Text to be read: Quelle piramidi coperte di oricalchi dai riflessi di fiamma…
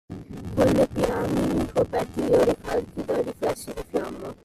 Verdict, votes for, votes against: rejected, 1, 2